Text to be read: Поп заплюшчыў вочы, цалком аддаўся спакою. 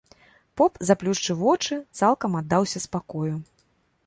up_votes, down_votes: 0, 2